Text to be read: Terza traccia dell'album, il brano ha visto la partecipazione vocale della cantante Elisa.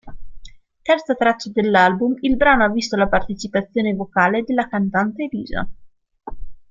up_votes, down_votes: 2, 0